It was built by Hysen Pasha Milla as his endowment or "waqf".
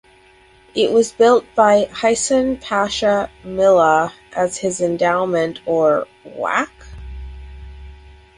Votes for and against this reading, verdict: 2, 2, rejected